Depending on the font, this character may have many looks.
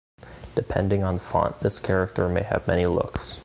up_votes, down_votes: 1, 2